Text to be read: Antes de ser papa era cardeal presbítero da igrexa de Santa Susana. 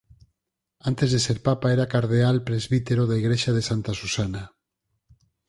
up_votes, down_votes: 4, 0